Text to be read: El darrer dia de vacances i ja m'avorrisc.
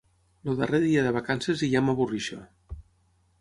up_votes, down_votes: 0, 6